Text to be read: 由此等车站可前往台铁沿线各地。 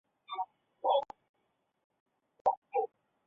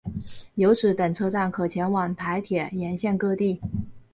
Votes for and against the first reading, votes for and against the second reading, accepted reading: 0, 3, 2, 0, second